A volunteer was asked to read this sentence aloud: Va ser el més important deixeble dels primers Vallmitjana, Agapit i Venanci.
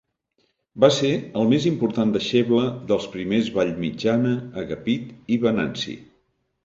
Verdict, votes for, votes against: accepted, 2, 0